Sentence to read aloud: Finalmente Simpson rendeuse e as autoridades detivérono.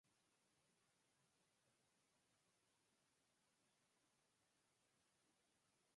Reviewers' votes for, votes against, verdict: 0, 4, rejected